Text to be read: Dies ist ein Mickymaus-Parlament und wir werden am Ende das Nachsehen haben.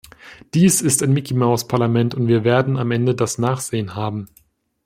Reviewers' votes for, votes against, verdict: 2, 0, accepted